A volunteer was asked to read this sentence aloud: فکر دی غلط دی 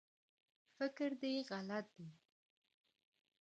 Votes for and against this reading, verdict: 2, 0, accepted